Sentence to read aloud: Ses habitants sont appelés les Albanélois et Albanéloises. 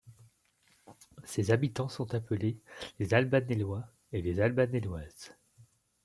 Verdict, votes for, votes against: rejected, 1, 2